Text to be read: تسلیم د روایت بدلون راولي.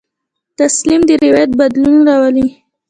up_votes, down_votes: 1, 2